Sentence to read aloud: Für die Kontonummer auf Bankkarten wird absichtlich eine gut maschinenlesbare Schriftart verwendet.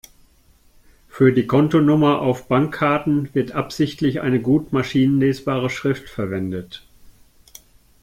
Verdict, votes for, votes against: rejected, 1, 2